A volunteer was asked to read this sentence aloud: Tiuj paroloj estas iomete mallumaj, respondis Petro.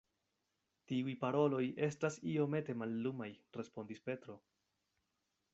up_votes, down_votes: 2, 0